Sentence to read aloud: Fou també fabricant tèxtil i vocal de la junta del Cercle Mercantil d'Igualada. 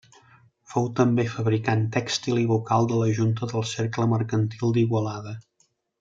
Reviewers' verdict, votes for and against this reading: accepted, 3, 0